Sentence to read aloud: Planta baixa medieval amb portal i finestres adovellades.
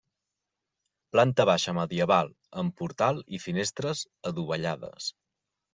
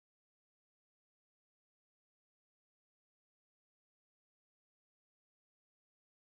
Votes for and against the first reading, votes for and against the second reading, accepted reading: 3, 0, 0, 2, first